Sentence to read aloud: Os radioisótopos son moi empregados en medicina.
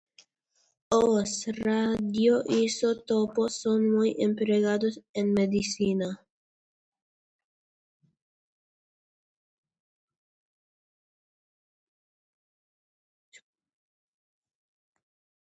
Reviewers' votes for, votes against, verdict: 0, 2, rejected